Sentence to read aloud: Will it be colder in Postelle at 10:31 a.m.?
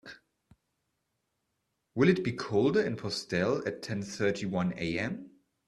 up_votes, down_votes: 0, 2